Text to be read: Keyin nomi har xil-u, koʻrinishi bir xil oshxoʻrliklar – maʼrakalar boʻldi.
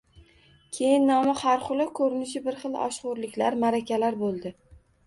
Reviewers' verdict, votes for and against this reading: accepted, 2, 0